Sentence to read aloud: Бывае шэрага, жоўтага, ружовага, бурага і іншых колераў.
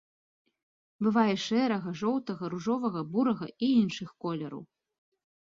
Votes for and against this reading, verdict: 2, 0, accepted